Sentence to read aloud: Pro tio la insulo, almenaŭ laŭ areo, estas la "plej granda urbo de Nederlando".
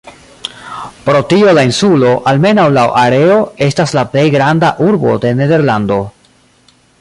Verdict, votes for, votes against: accepted, 2, 0